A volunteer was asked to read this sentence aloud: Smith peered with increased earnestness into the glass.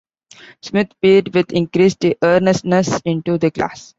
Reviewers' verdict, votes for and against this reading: accepted, 2, 1